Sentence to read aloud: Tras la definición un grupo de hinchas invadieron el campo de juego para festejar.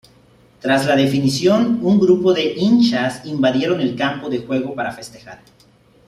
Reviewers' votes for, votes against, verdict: 2, 0, accepted